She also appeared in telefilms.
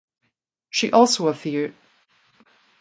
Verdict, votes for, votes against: rejected, 0, 2